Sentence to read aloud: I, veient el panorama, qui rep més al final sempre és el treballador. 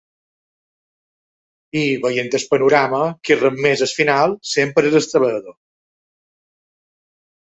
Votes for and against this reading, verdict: 0, 2, rejected